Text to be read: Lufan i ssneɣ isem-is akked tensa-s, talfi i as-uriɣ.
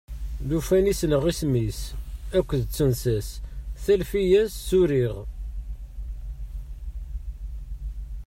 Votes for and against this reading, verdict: 1, 2, rejected